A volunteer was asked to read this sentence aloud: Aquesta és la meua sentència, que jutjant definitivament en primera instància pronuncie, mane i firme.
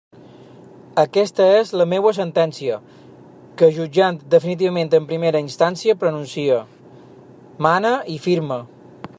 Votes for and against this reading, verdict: 1, 2, rejected